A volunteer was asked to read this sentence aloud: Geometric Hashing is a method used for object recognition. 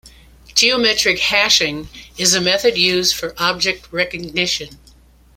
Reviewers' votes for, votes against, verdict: 1, 2, rejected